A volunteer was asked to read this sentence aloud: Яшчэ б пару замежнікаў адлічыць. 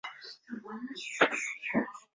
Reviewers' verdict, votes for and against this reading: rejected, 0, 2